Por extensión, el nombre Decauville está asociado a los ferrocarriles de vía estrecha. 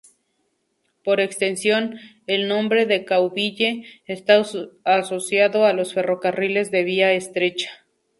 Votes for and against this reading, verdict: 2, 0, accepted